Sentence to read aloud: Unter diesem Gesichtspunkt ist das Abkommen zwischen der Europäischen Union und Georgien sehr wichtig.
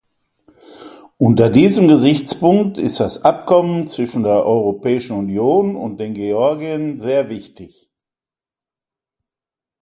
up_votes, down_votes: 0, 2